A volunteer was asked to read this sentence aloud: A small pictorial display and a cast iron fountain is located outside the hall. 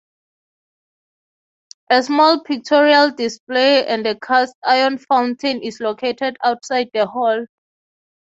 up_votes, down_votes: 6, 0